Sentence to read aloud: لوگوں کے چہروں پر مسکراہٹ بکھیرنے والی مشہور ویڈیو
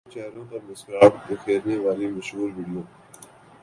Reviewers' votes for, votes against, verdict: 0, 3, rejected